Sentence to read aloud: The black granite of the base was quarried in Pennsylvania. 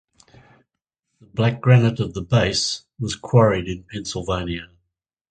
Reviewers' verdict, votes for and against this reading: rejected, 0, 4